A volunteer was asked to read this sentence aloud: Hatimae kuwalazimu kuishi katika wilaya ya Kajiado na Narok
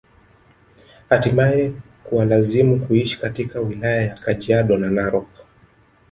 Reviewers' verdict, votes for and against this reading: accepted, 3, 1